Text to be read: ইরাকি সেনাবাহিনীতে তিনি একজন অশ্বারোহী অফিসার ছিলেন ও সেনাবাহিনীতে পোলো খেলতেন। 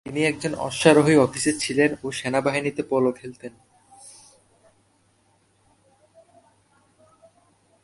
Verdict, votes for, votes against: rejected, 0, 2